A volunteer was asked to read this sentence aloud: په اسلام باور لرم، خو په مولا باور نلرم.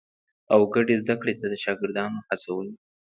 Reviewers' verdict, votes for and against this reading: rejected, 0, 2